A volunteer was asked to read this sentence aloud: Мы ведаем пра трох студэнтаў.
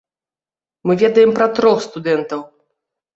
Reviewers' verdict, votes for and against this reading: accepted, 2, 0